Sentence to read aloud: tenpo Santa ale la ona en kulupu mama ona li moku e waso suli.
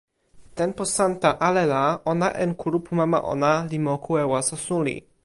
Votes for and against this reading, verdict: 2, 0, accepted